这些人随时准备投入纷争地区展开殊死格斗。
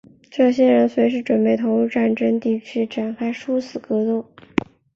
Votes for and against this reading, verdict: 0, 5, rejected